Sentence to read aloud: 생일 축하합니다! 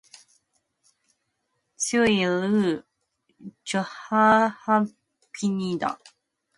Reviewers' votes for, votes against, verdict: 0, 2, rejected